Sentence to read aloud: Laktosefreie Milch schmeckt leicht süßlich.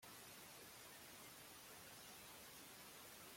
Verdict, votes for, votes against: rejected, 0, 2